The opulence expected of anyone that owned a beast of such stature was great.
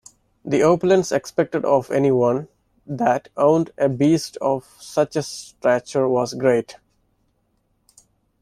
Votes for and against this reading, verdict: 0, 2, rejected